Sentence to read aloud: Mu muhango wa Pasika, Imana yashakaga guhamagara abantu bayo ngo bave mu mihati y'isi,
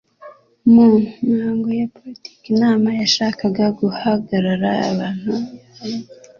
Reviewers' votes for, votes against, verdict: 1, 2, rejected